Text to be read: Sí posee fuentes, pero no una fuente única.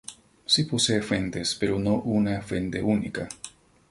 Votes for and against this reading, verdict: 2, 0, accepted